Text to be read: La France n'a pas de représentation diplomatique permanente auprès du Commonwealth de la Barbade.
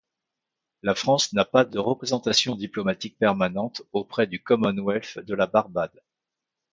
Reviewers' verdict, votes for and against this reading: accepted, 2, 0